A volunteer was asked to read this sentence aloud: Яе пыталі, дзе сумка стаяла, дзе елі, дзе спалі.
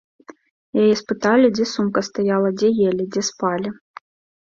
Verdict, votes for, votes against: rejected, 0, 2